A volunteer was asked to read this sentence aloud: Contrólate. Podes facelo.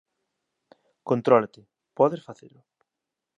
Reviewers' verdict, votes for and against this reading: accepted, 2, 1